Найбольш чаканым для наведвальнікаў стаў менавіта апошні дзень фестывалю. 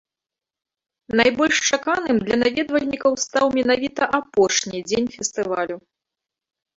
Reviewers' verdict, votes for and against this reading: rejected, 2, 3